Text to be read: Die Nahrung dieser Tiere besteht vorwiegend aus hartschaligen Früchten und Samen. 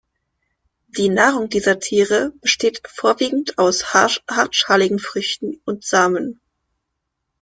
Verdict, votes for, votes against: rejected, 1, 2